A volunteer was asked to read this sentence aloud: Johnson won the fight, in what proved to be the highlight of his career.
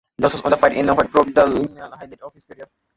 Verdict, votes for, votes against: rejected, 0, 2